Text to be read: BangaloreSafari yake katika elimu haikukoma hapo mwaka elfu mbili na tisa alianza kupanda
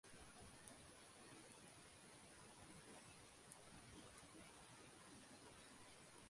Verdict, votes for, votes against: rejected, 0, 2